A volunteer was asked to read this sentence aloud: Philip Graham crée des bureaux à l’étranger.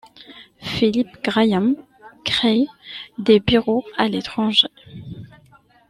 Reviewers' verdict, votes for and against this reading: rejected, 1, 2